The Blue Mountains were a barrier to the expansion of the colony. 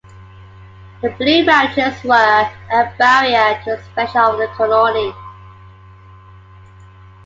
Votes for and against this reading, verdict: 0, 2, rejected